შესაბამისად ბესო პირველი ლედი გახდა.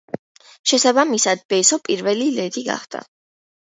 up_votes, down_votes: 2, 1